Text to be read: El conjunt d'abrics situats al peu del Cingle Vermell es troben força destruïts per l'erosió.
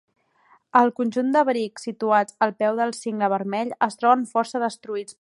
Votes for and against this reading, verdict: 1, 2, rejected